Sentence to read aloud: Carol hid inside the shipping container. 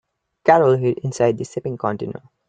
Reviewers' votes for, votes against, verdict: 2, 1, accepted